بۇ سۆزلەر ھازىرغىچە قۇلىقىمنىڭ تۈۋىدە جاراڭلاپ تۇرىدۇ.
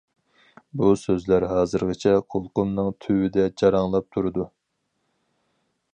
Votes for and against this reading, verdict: 4, 0, accepted